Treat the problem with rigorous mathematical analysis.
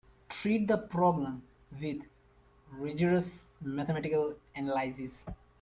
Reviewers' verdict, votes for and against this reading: rejected, 0, 2